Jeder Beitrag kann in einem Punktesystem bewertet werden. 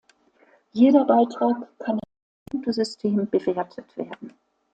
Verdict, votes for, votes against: rejected, 0, 2